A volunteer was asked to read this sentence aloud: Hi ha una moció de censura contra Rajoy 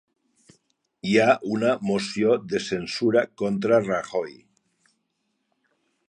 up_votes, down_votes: 3, 0